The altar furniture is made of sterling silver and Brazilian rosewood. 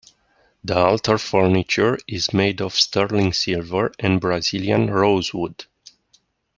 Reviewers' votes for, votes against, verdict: 2, 0, accepted